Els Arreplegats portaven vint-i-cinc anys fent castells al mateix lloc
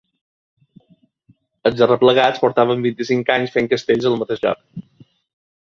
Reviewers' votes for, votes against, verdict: 2, 0, accepted